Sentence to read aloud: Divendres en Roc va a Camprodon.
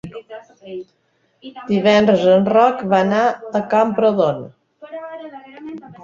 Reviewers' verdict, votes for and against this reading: rejected, 0, 3